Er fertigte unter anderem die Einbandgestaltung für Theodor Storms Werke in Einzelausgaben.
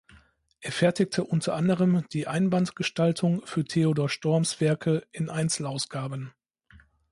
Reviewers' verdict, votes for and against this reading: accepted, 3, 0